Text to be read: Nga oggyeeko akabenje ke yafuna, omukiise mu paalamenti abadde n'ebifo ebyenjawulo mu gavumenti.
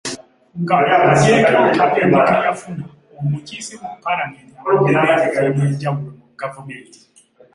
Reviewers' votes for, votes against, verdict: 0, 2, rejected